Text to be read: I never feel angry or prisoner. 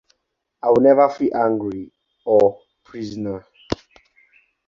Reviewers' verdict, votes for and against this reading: accepted, 4, 0